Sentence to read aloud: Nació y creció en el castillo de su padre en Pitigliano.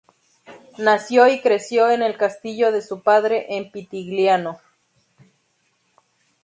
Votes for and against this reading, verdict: 2, 0, accepted